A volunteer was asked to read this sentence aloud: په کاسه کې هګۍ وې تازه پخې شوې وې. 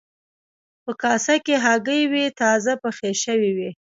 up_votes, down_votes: 1, 2